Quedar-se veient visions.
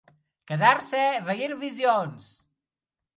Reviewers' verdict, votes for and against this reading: accepted, 2, 0